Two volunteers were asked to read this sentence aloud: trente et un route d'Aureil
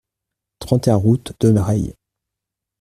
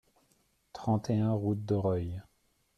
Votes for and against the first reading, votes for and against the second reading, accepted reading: 1, 2, 2, 0, second